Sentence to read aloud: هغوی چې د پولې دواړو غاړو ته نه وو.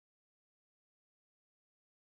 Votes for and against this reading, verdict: 1, 2, rejected